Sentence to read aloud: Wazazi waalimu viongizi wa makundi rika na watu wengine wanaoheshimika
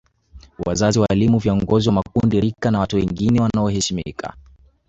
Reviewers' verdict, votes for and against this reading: rejected, 0, 2